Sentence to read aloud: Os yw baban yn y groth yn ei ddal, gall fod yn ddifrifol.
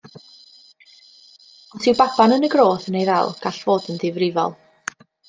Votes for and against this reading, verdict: 0, 2, rejected